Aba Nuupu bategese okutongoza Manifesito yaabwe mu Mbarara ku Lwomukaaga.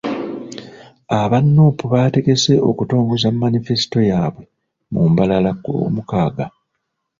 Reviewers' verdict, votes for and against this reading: accepted, 2, 0